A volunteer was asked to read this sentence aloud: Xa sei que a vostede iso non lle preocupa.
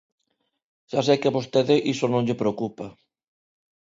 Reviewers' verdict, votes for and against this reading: accepted, 2, 0